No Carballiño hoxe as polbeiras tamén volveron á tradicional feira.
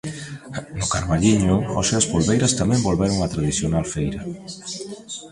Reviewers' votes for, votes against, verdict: 0, 2, rejected